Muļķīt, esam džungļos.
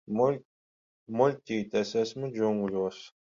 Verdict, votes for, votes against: rejected, 0, 10